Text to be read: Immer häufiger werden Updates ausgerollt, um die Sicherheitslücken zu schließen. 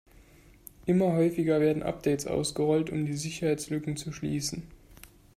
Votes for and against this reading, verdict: 2, 0, accepted